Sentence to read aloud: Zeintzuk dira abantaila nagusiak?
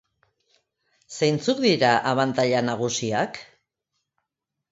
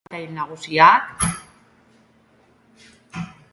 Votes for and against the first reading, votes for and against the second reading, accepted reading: 2, 0, 0, 2, first